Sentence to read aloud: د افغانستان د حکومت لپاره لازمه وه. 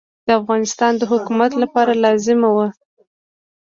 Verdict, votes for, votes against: accepted, 2, 0